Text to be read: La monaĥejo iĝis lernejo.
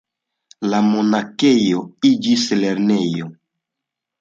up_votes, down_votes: 1, 2